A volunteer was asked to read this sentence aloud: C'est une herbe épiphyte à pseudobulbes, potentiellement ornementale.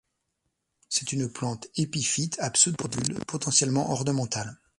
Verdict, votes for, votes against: rejected, 1, 2